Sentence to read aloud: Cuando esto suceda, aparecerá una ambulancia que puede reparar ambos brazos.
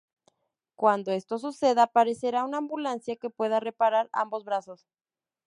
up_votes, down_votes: 0, 2